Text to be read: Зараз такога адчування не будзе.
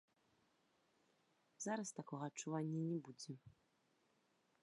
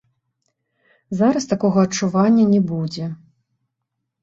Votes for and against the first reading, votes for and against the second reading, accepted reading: 0, 2, 2, 0, second